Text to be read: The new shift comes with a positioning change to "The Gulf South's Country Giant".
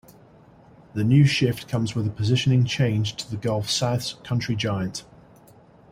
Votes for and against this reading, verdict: 2, 0, accepted